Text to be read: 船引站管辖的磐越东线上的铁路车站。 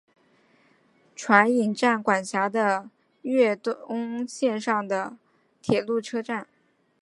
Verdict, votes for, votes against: accepted, 2, 0